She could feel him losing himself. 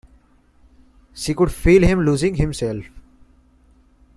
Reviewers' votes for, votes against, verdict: 2, 0, accepted